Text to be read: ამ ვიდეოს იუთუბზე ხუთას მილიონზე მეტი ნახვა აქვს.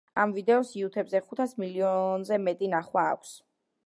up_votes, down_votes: 2, 0